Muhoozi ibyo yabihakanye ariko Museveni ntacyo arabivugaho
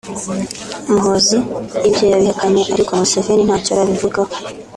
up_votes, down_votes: 2, 0